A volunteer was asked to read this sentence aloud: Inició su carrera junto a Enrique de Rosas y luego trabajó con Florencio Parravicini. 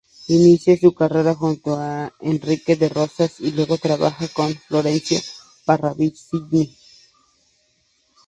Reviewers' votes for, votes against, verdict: 0, 2, rejected